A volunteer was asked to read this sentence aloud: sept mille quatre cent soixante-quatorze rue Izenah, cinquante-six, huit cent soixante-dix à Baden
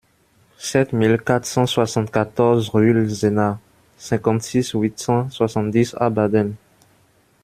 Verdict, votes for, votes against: rejected, 1, 2